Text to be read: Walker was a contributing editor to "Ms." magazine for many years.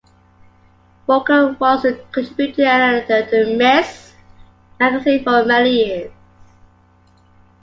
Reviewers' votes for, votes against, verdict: 2, 0, accepted